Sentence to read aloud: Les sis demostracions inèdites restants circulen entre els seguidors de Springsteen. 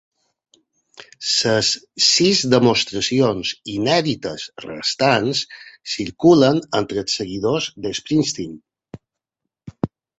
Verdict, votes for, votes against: rejected, 0, 2